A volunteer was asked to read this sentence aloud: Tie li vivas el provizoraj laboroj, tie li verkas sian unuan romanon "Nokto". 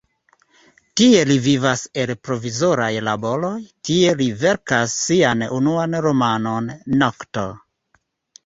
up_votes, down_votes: 2, 1